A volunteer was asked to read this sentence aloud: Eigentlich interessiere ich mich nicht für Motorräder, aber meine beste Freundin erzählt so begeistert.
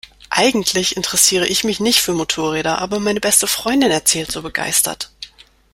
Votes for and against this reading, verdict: 2, 0, accepted